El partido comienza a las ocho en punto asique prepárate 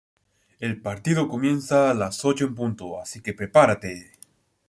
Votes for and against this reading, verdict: 2, 0, accepted